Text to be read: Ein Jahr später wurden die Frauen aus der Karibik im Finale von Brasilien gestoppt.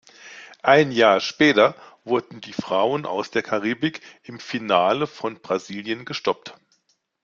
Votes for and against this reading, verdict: 2, 0, accepted